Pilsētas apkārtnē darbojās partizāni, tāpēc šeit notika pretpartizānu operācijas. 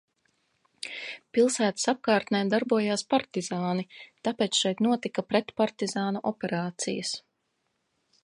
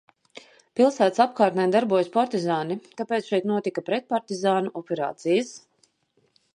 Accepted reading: first